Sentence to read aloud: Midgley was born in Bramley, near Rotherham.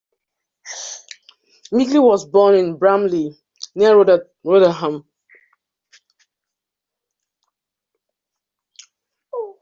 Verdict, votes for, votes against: rejected, 0, 2